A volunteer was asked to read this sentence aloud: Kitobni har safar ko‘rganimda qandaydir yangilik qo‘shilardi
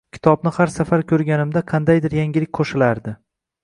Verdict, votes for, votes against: accepted, 2, 0